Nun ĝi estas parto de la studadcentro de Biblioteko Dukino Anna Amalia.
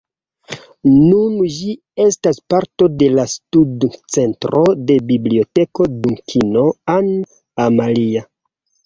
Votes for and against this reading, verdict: 0, 2, rejected